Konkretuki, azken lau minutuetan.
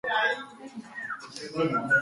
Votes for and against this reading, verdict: 2, 3, rejected